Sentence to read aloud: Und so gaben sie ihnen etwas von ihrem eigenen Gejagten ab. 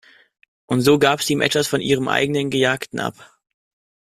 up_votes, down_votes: 0, 2